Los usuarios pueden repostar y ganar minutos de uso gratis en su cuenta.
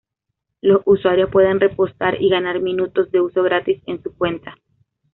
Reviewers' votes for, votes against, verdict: 2, 0, accepted